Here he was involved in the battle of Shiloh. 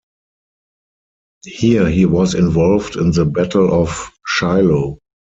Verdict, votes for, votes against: accepted, 4, 0